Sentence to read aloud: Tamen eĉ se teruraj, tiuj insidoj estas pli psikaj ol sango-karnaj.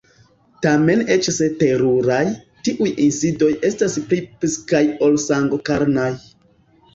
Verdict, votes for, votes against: accepted, 2, 1